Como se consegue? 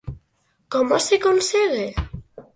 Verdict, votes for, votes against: accepted, 4, 0